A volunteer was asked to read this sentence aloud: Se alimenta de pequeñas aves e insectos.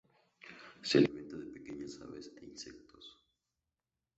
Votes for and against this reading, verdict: 2, 0, accepted